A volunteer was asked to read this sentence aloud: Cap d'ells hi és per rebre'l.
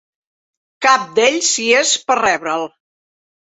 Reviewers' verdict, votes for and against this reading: accepted, 2, 0